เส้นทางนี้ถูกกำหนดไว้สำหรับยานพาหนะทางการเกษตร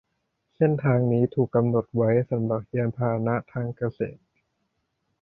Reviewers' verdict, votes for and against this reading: rejected, 0, 2